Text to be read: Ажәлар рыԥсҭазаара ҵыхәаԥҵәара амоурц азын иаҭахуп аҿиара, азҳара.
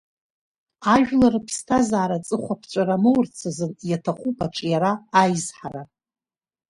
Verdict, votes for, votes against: rejected, 1, 2